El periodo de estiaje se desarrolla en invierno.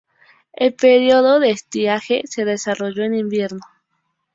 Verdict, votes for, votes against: rejected, 0, 2